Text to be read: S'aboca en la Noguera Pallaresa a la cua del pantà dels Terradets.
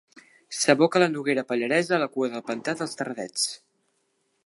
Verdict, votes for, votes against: rejected, 0, 2